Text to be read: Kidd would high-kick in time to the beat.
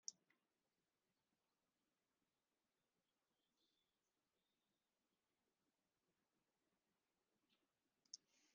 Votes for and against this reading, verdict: 0, 2, rejected